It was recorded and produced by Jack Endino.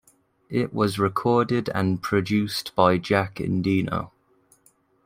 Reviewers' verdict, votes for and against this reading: rejected, 0, 2